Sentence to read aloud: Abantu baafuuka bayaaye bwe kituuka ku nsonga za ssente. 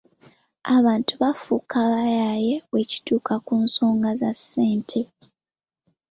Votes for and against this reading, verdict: 2, 1, accepted